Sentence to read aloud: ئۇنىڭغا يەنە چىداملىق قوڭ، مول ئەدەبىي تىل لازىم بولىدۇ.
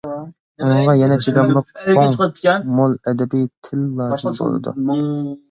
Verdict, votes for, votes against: rejected, 0, 2